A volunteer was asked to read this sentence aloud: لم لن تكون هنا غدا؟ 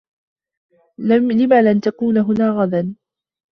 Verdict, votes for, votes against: accepted, 2, 1